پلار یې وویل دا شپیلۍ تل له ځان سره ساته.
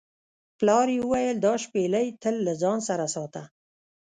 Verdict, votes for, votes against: rejected, 0, 2